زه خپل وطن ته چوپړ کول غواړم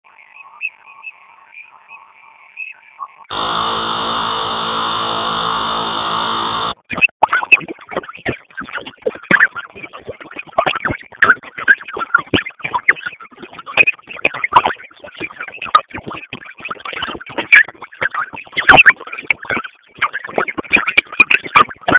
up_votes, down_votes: 0, 2